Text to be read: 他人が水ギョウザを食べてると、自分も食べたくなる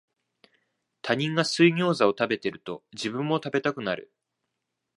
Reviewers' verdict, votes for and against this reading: accepted, 2, 0